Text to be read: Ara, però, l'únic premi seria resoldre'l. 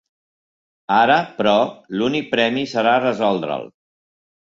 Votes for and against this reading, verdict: 2, 3, rejected